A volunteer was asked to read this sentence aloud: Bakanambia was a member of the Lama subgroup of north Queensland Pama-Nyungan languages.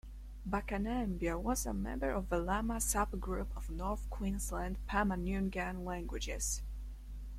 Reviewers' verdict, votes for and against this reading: accepted, 2, 0